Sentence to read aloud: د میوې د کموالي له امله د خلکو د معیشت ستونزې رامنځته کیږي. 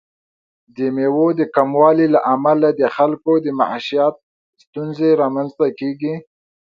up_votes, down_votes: 0, 2